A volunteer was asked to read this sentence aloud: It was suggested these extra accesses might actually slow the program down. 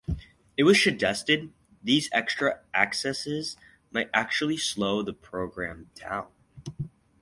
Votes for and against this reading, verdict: 4, 0, accepted